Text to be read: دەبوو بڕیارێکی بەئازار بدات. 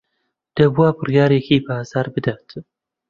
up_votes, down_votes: 1, 2